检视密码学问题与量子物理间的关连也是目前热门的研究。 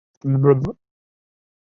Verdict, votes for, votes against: rejected, 0, 2